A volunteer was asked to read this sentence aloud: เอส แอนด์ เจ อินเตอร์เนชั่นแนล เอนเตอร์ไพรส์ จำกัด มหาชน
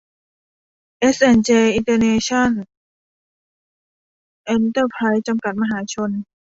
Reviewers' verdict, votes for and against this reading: rejected, 0, 2